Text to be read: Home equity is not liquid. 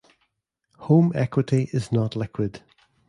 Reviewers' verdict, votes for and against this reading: accepted, 2, 0